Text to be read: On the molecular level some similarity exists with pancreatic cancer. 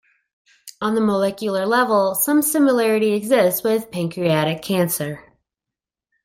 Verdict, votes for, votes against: accepted, 2, 0